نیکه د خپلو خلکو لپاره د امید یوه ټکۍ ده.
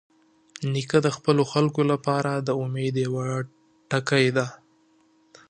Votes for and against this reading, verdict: 2, 0, accepted